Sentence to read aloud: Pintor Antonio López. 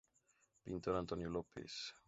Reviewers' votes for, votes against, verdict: 4, 2, accepted